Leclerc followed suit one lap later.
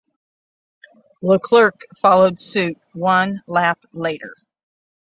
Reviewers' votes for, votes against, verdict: 6, 0, accepted